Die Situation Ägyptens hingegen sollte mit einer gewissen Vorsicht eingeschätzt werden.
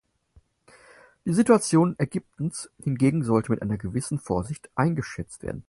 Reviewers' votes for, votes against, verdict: 4, 0, accepted